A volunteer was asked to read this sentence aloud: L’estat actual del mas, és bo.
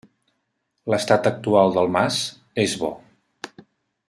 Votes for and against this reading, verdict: 3, 0, accepted